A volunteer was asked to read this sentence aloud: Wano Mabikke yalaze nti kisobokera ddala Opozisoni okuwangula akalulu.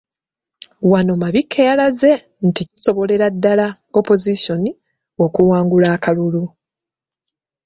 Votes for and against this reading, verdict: 1, 2, rejected